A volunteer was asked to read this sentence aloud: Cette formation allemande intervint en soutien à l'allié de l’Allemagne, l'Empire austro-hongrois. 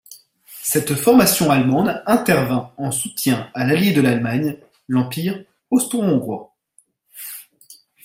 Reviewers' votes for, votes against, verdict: 2, 0, accepted